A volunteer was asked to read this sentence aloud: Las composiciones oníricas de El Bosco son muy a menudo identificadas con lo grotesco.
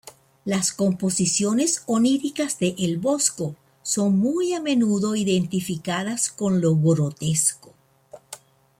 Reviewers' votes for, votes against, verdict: 2, 0, accepted